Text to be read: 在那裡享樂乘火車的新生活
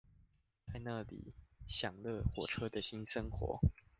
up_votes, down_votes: 0, 2